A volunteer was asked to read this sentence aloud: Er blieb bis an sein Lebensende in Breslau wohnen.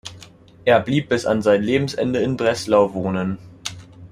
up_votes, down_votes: 2, 0